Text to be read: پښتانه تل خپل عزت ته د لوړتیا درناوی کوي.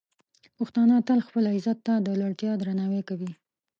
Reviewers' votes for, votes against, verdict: 2, 0, accepted